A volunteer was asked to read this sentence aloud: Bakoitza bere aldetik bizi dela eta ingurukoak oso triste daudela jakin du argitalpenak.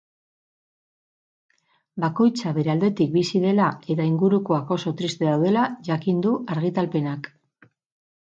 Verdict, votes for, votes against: accepted, 6, 0